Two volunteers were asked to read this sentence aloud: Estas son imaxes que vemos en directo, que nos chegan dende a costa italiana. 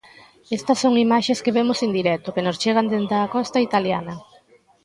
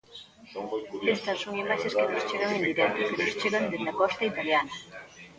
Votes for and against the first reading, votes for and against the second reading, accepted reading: 2, 0, 0, 2, first